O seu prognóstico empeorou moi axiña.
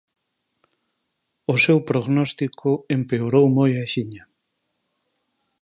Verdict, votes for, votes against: accepted, 4, 0